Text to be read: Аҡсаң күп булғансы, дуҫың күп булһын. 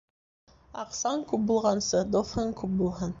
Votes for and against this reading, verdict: 2, 0, accepted